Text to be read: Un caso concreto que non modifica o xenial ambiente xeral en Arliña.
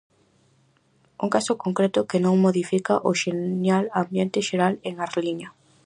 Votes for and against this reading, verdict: 4, 0, accepted